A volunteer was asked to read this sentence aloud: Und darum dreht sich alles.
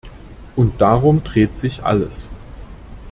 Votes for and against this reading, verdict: 2, 0, accepted